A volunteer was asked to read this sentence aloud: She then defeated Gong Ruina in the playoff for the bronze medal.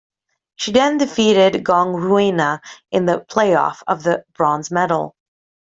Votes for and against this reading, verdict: 0, 2, rejected